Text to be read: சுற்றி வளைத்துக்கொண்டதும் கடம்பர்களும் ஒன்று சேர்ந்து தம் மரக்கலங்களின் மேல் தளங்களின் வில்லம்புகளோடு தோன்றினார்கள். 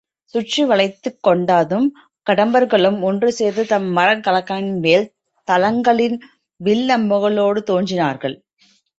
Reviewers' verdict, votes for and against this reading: rejected, 0, 3